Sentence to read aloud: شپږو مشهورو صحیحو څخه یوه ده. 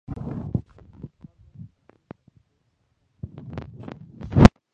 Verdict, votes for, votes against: rejected, 0, 2